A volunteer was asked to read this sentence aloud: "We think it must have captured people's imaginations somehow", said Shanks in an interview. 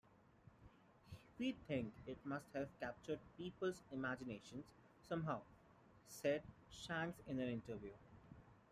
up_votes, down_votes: 2, 0